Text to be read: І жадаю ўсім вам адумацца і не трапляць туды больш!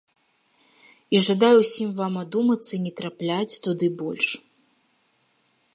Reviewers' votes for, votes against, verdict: 2, 0, accepted